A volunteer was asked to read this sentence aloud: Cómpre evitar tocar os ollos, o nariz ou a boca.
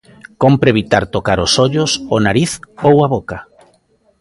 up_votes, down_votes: 1, 2